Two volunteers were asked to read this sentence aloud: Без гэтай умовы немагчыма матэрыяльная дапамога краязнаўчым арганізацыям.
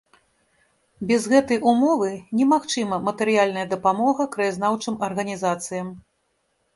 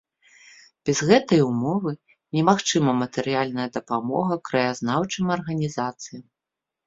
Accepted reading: second